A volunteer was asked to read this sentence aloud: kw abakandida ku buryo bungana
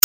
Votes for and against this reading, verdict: 1, 2, rejected